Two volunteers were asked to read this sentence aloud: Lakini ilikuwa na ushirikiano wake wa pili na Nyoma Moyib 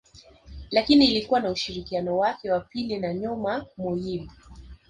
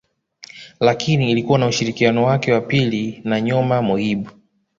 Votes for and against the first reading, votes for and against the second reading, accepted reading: 1, 2, 2, 0, second